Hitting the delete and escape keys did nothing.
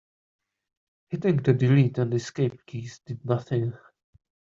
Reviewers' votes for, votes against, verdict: 2, 0, accepted